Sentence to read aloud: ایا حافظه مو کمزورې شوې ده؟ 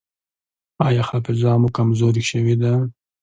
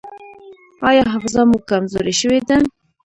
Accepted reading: first